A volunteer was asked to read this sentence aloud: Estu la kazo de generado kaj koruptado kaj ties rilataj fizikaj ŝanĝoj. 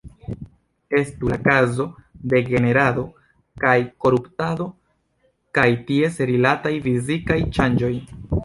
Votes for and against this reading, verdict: 2, 0, accepted